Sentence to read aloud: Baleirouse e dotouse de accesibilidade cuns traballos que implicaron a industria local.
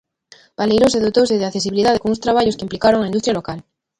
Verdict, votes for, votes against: rejected, 1, 2